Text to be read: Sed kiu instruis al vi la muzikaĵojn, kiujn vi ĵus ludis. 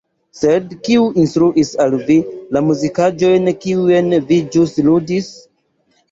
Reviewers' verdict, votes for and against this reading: rejected, 1, 2